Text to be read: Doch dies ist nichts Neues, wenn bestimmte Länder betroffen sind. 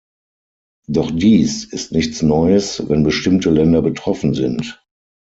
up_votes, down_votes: 0, 6